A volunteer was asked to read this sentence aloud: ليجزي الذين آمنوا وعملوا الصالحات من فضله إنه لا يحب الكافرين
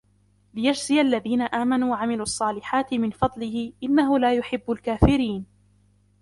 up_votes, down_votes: 3, 0